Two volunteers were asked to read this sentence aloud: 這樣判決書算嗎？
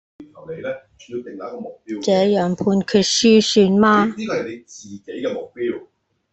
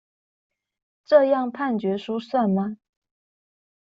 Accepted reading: second